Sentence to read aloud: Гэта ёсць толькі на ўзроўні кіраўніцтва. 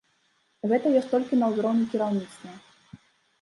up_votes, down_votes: 2, 0